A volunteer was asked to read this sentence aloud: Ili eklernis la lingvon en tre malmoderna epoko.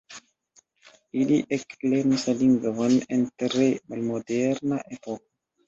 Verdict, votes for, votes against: rejected, 1, 2